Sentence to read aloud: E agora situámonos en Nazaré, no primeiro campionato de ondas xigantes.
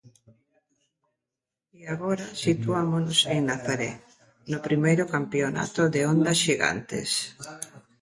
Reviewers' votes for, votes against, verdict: 0, 2, rejected